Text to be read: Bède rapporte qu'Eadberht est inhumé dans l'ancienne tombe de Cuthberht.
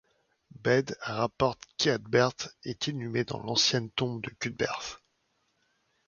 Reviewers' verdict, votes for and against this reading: rejected, 1, 2